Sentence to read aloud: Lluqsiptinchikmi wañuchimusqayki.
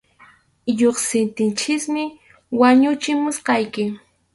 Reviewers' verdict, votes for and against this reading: accepted, 4, 0